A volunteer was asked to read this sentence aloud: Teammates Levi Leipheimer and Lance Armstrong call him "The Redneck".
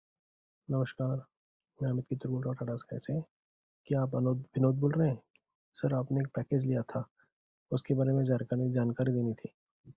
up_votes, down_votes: 0, 2